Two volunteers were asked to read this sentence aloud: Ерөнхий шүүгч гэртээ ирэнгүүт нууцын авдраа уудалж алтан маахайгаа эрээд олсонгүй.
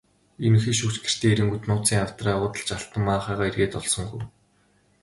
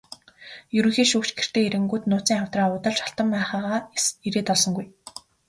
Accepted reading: first